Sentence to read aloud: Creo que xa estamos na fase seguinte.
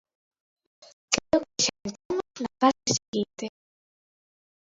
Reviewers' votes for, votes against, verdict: 1, 2, rejected